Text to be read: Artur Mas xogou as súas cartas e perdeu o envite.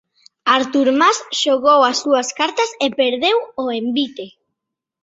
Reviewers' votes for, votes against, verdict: 2, 0, accepted